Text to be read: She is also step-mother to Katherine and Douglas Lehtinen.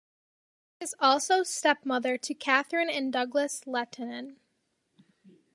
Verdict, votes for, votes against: rejected, 0, 2